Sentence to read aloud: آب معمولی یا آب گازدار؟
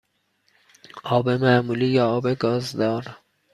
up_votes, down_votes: 2, 0